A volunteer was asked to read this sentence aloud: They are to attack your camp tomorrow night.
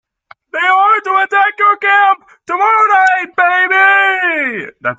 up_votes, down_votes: 0, 2